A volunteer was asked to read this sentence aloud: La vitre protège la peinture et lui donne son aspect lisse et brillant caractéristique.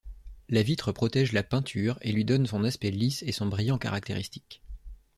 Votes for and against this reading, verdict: 0, 2, rejected